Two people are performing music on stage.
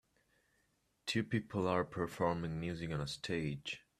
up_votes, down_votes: 2, 1